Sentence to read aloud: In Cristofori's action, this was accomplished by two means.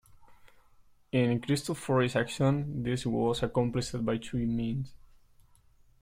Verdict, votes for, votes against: accepted, 2, 0